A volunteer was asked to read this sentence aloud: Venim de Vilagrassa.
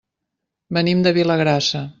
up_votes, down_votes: 3, 0